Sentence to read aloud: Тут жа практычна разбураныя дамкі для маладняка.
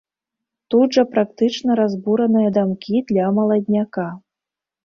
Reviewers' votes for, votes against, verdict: 2, 0, accepted